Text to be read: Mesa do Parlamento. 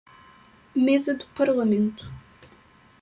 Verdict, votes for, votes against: rejected, 1, 2